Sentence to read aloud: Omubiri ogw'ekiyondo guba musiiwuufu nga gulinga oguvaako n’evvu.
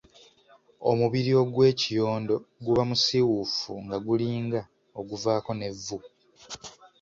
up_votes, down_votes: 2, 0